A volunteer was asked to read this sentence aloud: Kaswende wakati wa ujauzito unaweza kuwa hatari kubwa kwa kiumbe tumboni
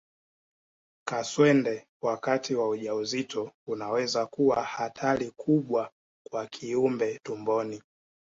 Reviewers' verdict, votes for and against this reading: accepted, 2, 1